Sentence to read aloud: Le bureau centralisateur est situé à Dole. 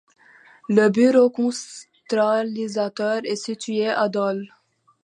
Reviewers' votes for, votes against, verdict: 0, 2, rejected